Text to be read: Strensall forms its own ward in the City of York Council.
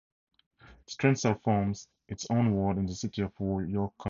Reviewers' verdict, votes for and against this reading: rejected, 0, 2